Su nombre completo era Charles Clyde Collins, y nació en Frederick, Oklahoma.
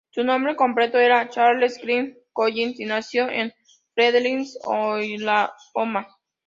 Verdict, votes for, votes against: rejected, 0, 2